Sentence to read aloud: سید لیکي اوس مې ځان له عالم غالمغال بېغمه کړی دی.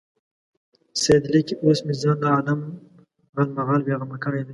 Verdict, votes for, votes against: accepted, 2, 0